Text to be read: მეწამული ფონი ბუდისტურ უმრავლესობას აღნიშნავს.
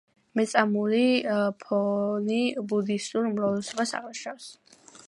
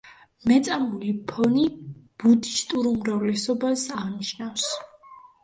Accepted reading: second